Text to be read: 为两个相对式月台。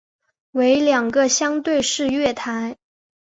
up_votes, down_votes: 2, 0